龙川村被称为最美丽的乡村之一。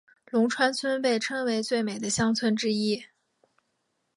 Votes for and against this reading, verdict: 2, 1, accepted